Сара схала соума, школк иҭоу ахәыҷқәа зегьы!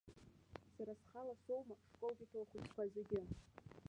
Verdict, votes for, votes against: rejected, 0, 2